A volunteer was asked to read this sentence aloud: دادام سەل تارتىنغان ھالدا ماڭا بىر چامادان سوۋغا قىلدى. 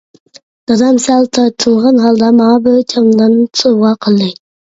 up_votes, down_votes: 2, 1